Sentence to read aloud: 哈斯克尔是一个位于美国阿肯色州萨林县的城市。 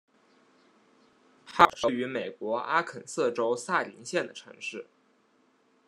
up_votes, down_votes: 0, 2